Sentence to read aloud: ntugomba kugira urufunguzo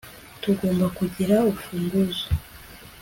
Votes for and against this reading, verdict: 0, 2, rejected